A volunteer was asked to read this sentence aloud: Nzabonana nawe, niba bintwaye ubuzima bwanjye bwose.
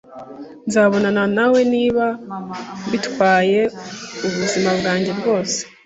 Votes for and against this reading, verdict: 1, 2, rejected